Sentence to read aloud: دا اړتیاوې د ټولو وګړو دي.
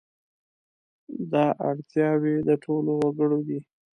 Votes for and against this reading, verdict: 2, 0, accepted